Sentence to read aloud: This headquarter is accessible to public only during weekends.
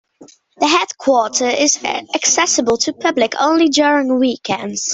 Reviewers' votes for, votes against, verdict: 0, 2, rejected